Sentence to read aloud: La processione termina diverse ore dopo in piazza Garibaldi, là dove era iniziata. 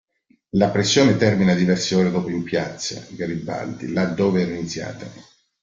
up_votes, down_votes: 1, 2